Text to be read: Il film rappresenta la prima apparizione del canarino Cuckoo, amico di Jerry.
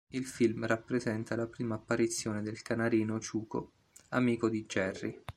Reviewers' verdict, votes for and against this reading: rejected, 0, 2